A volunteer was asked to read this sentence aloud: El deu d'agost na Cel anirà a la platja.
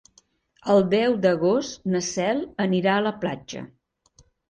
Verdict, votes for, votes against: accepted, 5, 0